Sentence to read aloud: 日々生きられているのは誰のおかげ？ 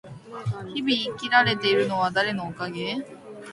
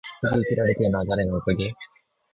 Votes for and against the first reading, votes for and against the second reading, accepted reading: 2, 1, 0, 2, first